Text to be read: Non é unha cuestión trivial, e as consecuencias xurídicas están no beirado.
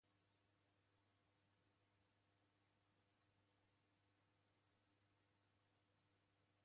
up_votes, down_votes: 0, 2